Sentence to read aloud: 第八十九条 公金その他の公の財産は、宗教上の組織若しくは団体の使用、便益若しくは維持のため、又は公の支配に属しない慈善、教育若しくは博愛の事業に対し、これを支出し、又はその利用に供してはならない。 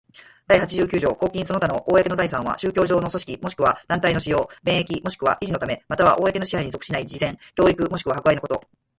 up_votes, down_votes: 4, 0